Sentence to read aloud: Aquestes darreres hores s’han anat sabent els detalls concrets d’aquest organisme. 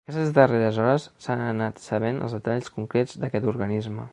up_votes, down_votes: 0, 2